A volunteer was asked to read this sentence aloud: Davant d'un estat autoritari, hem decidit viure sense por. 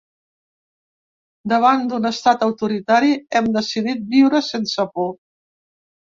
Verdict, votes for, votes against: accepted, 3, 0